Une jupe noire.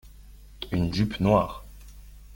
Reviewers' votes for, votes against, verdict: 2, 0, accepted